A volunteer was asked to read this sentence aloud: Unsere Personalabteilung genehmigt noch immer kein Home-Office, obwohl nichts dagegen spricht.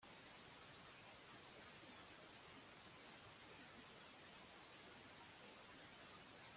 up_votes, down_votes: 0, 2